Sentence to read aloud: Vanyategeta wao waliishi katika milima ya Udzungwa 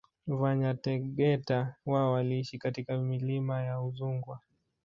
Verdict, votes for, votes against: rejected, 0, 2